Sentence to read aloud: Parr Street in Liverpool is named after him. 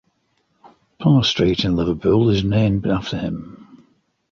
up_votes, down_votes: 2, 0